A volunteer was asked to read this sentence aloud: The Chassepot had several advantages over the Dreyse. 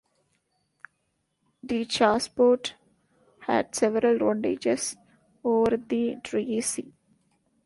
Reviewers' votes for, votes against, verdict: 0, 2, rejected